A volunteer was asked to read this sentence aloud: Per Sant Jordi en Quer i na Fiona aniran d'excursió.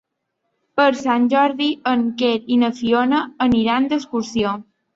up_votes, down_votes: 3, 0